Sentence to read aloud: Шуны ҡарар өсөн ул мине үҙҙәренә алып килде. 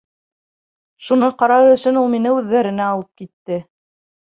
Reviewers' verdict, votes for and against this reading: rejected, 1, 2